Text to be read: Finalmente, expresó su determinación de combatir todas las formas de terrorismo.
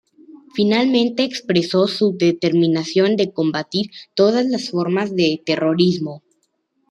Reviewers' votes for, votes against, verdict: 2, 0, accepted